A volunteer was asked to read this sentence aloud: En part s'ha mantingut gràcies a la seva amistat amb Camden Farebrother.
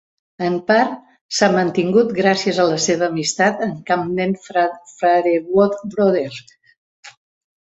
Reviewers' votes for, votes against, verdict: 0, 2, rejected